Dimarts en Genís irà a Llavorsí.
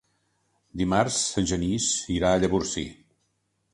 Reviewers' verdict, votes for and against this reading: accepted, 5, 0